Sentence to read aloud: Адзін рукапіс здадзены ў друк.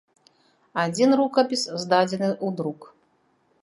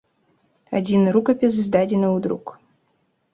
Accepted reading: second